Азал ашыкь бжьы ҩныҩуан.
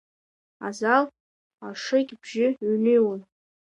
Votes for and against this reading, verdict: 0, 2, rejected